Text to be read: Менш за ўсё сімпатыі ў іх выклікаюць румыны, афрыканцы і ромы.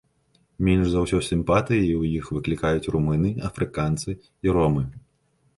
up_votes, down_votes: 1, 2